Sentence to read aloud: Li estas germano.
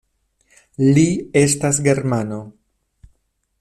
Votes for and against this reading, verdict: 2, 0, accepted